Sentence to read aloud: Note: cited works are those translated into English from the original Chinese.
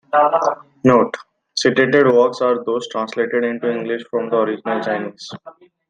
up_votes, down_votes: 2, 1